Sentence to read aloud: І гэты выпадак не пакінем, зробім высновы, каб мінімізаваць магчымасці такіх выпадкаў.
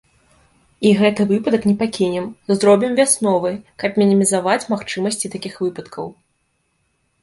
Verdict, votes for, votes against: rejected, 0, 2